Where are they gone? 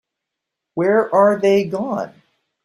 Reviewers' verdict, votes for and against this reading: accepted, 2, 0